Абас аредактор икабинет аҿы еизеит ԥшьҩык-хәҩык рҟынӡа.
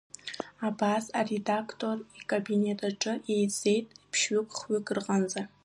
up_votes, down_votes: 2, 0